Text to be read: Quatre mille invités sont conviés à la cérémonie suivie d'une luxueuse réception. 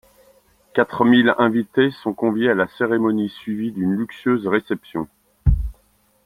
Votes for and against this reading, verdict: 2, 1, accepted